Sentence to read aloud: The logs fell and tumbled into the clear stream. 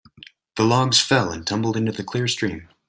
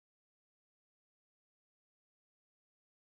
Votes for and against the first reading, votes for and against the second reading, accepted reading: 2, 0, 0, 2, first